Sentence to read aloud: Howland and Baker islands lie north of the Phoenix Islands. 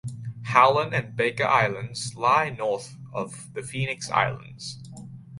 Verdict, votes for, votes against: accepted, 2, 0